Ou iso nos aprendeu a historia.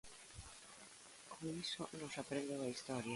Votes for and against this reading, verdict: 0, 2, rejected